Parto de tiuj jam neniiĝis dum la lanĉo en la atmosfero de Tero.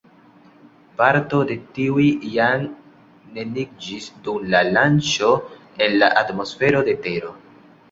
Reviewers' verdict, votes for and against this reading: accepted, 2, 0